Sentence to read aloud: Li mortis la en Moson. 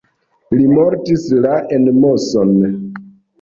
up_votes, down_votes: 1, 2